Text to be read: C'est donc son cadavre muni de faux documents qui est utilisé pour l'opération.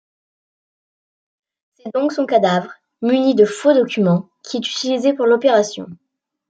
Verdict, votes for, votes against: accepted, 2, 0